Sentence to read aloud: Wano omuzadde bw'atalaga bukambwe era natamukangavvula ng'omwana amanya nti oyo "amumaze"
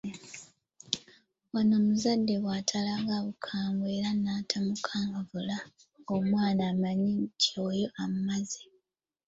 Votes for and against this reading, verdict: 2, 1, accepted